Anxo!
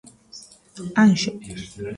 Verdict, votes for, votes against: rejected, 1, 2